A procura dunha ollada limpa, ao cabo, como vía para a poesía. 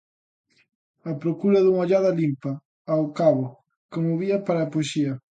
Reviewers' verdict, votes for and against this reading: accepted, 2, 0